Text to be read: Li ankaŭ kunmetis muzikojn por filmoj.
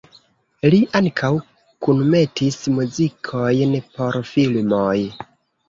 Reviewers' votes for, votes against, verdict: 2, 0, accepted